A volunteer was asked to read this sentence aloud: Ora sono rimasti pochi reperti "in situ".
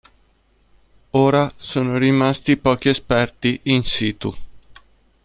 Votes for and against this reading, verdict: 1, 2, rejected